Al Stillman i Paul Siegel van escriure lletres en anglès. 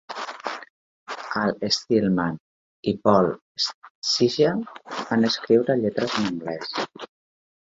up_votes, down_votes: 1, 2